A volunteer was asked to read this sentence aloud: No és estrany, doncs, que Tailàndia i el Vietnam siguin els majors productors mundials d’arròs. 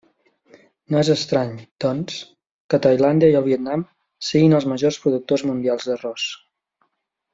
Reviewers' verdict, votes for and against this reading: accepted, 2, 0